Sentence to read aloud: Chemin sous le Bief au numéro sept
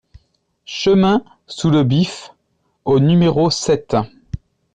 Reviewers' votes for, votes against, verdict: 0, 2, rejected